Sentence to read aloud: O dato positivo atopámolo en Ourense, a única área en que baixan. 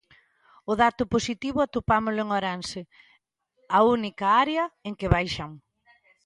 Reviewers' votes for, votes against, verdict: 1, 2, rejected